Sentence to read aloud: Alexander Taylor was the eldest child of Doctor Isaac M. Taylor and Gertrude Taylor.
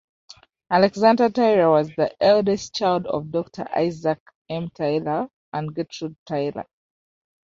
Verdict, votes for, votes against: accepted, 2, 0